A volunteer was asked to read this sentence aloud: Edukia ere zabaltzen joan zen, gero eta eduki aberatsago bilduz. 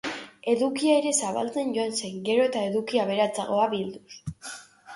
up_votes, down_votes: 0, 2